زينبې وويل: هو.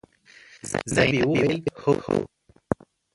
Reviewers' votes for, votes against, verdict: 0, 2, rejected